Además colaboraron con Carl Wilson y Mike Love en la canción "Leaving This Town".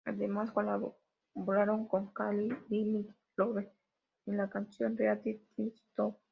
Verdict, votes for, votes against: accepted, 2, 1